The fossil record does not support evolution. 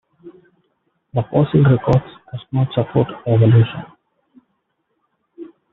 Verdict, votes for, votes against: rejected, 1, 2